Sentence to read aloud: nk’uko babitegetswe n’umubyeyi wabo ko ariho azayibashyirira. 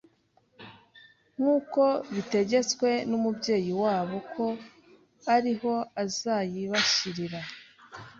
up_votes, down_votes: 1, 2